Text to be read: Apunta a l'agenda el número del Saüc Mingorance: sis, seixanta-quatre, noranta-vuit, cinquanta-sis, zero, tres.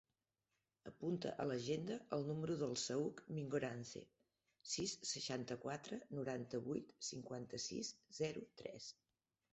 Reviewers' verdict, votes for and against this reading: accepted, 2, 0